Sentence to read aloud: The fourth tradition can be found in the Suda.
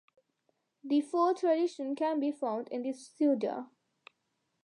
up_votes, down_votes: 1, 2